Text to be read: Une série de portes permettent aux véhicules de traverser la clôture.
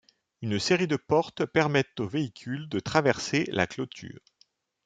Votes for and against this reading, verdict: 2, 0, accepted